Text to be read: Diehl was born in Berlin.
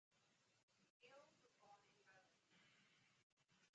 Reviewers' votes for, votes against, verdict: 0, 2, rejected